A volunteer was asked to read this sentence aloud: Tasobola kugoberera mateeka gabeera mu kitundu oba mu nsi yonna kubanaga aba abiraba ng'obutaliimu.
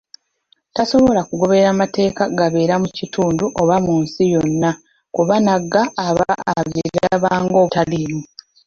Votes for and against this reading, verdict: 0, 2, rejected